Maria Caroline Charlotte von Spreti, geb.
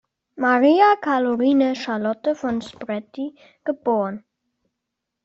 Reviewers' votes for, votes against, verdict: 2, 1, accepted